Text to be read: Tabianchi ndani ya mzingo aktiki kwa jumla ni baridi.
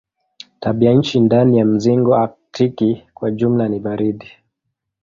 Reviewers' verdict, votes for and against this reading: accepted, 2, 0